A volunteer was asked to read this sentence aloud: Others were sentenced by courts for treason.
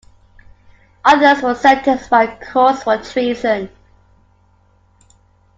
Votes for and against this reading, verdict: 1, 2, rejected